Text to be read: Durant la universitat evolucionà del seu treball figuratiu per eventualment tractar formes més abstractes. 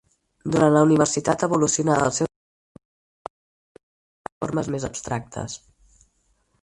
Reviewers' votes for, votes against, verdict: 0, 4, rejected